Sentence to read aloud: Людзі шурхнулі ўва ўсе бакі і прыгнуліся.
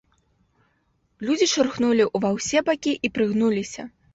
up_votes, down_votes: 2, 0